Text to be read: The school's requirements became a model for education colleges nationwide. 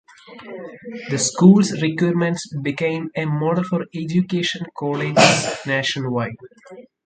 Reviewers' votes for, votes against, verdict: 0, 2, rejected